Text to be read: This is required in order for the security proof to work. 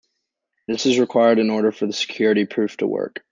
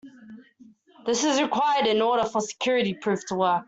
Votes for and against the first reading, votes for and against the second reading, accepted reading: 2, 0, 1, 2, first